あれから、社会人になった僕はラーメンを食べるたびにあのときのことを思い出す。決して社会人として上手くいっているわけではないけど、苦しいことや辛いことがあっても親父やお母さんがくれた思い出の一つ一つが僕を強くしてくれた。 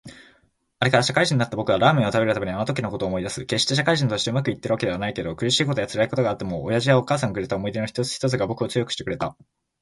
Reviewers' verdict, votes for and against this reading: accepted, 3, 2